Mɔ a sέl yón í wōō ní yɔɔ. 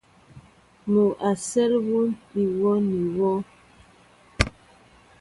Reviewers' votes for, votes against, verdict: 2, 0, accepted